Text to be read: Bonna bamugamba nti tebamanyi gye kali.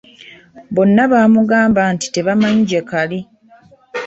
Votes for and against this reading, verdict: 2, 0, accepted